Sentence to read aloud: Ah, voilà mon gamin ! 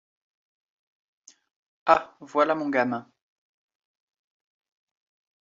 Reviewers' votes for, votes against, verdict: 2, 0, accepted